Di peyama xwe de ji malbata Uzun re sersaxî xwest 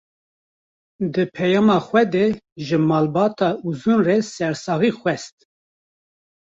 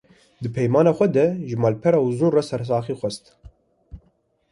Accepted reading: first